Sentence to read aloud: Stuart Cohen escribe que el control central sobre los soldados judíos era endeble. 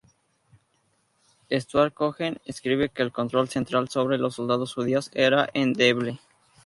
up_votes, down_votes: 2, 0